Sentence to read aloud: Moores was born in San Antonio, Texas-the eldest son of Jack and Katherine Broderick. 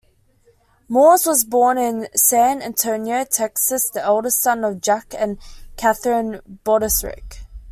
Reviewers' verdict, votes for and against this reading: rejected, 0, 2